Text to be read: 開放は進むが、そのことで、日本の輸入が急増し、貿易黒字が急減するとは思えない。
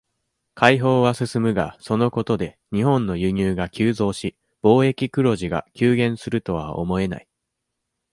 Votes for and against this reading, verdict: 2, 0, accepted